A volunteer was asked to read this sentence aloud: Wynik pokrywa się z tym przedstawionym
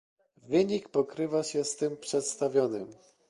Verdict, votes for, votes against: accepted, 2, 0